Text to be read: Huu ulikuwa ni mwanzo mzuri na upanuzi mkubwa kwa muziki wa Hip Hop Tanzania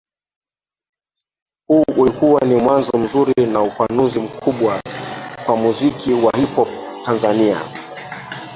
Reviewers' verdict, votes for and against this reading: rejected, 1, 2